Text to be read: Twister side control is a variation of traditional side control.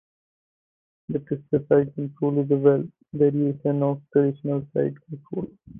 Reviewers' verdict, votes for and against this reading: rejected, 2, 4